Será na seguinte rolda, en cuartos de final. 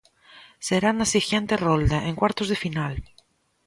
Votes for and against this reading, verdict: 0, 2, rejected